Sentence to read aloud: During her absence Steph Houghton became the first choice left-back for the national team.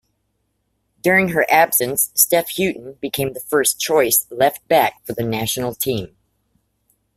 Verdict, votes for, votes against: rejected, 0, 2